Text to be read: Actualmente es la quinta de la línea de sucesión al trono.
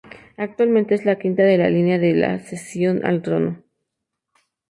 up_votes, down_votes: 0, 2